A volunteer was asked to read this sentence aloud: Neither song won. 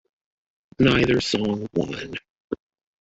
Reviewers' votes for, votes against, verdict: 2, 1, accepted